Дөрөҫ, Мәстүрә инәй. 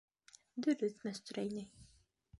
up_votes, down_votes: 3, 1